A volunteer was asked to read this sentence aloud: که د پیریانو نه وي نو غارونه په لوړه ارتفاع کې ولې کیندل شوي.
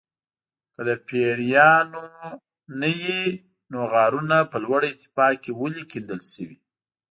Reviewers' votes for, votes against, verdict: 2, 0, accepted